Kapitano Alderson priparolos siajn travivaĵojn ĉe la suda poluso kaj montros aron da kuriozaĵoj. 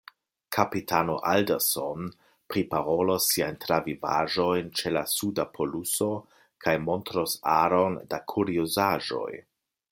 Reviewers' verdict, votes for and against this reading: accepted, 2, 0